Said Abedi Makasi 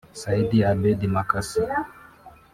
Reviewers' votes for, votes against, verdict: 1, 2, rejected